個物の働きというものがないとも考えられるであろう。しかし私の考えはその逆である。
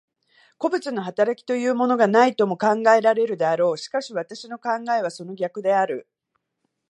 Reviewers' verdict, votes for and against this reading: rejected, 1, 2